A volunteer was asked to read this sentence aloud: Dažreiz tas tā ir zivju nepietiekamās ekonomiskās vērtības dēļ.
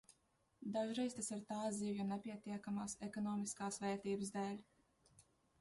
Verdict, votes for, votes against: rejected, 1, 2